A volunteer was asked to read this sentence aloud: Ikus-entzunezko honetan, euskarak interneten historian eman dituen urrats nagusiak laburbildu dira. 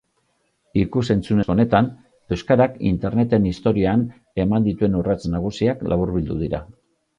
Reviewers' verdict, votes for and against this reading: rejected, 0, 2